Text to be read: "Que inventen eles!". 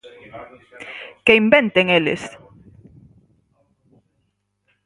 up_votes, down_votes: 4, 0